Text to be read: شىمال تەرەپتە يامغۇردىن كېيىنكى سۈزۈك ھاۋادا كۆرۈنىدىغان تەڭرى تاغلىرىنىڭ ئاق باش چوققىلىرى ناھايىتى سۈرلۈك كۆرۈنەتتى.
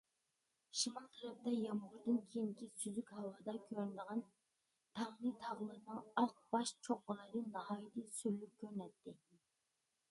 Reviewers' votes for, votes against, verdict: 0, 2, rejected